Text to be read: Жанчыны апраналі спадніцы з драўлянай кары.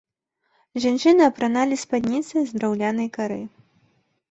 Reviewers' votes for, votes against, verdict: 2, 0, accepted